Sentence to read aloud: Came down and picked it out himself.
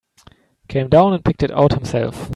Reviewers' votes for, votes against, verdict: 2, 0, accepted